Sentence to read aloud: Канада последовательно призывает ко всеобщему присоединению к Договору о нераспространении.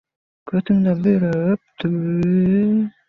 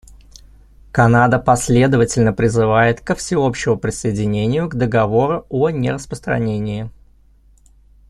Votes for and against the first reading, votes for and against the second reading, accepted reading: 0, 2, 2, 0, second